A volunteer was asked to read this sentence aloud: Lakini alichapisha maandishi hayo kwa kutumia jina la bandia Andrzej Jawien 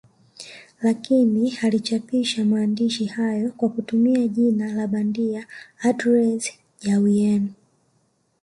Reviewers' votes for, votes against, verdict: 1, 2, rejected